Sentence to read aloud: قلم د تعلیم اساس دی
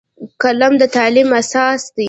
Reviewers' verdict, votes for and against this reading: rejected, 0, 2